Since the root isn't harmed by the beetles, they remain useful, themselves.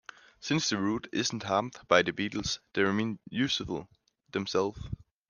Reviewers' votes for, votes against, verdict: 1, 2, rejected